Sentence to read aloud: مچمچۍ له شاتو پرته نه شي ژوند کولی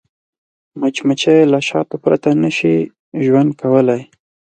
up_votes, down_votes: 4, 0